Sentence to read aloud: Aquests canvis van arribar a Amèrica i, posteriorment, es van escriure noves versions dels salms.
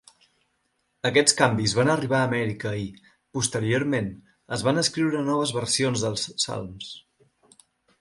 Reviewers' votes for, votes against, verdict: 1, 2, rejected